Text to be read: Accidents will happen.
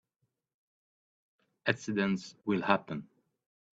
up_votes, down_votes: 2, 0